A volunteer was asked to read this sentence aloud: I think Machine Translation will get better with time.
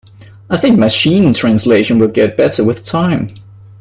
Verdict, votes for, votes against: accepted, 2, 0